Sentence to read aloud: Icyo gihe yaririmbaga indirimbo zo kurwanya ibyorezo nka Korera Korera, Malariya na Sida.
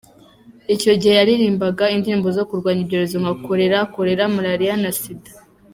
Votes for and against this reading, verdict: 2, 0, accepted